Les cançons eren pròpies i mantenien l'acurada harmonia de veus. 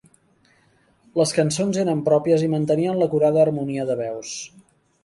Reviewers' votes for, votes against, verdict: 2, 0, accepted